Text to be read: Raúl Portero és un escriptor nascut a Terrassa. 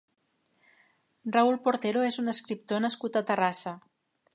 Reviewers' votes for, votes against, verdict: 4, 0, accepted